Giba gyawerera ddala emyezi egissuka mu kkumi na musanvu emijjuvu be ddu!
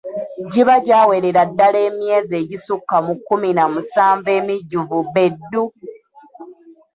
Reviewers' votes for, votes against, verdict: 2, 1, accepted